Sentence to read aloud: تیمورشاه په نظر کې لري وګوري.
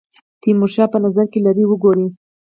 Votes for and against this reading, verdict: 0, 4, rejected